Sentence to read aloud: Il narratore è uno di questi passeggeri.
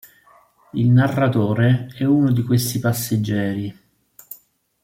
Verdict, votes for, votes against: accepted, 3, 0